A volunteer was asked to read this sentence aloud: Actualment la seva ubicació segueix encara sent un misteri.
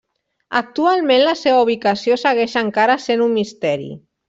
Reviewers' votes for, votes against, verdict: 0, 2, rejected